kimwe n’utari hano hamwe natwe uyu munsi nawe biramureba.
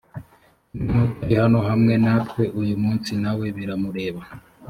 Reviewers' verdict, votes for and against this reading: rejected, 1, 2